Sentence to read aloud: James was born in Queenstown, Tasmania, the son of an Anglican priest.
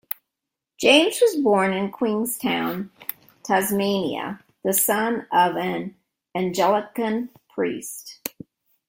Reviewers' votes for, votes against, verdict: 1, 2, rejected